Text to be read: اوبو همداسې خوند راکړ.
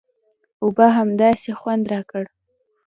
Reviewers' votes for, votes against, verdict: 2, 0, accepted